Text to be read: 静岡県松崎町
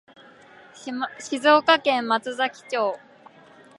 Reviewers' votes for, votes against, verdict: 1, 2, rejected